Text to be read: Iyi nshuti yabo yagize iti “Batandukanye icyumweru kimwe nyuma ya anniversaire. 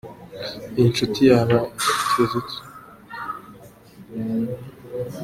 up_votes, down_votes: 0, 2